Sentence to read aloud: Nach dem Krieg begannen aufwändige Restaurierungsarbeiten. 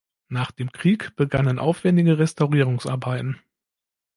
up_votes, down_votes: 2, 0